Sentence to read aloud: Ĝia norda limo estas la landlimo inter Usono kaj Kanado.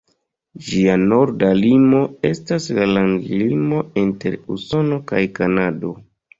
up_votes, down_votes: 2, 0